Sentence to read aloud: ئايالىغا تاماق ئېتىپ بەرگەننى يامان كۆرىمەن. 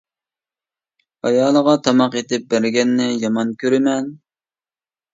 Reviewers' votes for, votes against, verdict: 2, 0, accepted